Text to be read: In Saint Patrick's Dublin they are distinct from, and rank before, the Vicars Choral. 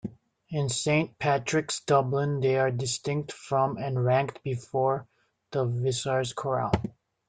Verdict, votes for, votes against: rejected, 1, 2